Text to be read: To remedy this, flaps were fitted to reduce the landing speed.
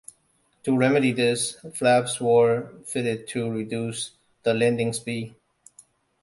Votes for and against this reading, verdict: 0, 2, rejected